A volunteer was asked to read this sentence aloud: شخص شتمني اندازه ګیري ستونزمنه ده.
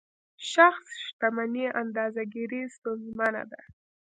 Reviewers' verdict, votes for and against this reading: rejected, 0, 2